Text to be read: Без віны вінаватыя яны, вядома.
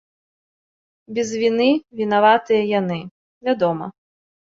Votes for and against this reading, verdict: 2, 0, accepted